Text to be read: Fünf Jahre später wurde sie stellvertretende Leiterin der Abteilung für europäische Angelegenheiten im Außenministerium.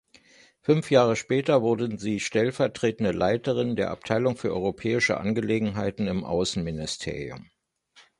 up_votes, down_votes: 0, 2